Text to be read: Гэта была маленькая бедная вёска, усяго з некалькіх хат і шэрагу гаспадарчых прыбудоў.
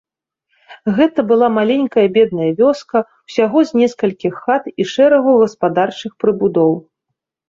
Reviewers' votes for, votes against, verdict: 0, 2, rejected